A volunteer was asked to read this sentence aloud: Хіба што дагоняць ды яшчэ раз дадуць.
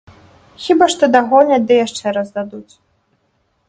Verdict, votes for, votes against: accepted, 2, 1